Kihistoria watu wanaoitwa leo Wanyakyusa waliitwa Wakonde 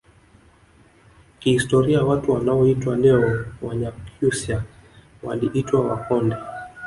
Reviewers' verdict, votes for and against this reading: rejected, 0, 2